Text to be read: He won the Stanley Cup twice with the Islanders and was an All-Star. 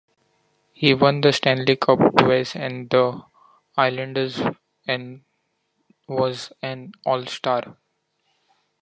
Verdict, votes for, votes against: accepted, 2, 1